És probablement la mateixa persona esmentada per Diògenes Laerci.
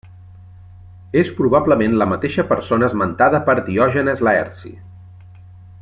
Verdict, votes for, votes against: accepted, 2, 0